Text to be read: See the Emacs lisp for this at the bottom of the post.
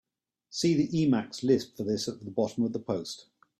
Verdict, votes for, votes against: accepted, 2, 0